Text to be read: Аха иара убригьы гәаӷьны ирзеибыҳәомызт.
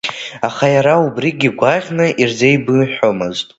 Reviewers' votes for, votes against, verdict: 1, 2, rejected